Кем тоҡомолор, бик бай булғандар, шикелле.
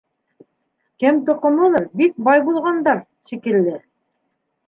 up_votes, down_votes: 0, 2